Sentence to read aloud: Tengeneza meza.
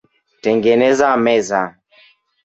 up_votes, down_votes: 1, 2